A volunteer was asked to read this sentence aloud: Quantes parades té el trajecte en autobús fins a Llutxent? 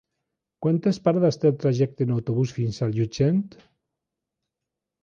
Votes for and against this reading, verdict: 2, 0, accepted